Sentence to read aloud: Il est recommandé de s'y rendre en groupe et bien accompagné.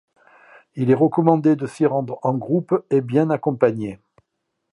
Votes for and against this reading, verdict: 2, 1, accepted